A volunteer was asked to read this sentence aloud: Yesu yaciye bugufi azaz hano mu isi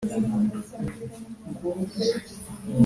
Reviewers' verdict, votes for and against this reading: rejected, 1, 2